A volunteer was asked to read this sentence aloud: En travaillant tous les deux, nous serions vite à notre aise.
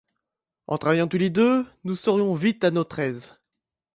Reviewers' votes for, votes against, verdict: 2, 0, accepted